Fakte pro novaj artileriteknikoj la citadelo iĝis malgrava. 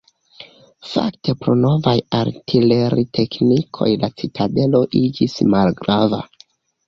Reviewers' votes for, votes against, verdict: 2, 1, accepted